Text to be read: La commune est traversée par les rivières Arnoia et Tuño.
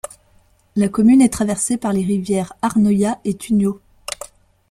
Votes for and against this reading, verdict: 2, 0, accepted